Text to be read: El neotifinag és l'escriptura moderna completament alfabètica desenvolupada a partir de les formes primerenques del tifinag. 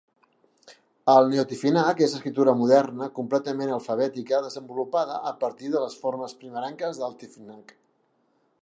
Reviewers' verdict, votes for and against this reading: accepted, 2, 0